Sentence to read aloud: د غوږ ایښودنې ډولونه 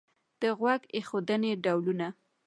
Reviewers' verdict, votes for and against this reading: accepted, 2, 0